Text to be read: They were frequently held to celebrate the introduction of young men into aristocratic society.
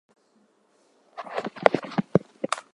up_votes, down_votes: 2, 2